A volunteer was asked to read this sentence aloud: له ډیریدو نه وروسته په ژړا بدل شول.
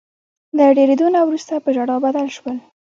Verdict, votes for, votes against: rejected, 1, 2